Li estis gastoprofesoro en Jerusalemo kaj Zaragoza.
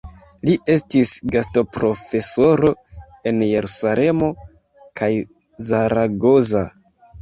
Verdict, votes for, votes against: accepted, 2, 1